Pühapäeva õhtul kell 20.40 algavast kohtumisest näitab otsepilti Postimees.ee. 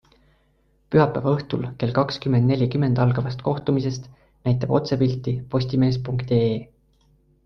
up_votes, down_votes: 0, 2